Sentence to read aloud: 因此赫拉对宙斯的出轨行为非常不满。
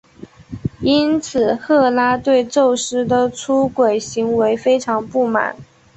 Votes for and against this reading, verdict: 2, 0, accepted